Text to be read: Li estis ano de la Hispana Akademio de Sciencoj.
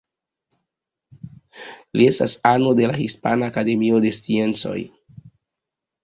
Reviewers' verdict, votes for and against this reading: rejected, 1, 2